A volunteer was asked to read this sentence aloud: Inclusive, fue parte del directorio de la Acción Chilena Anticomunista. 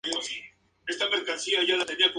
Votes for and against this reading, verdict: 0, 4, rejected